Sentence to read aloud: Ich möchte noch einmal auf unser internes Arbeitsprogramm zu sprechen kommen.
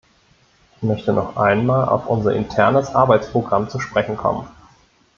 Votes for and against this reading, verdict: 1, 2, rejected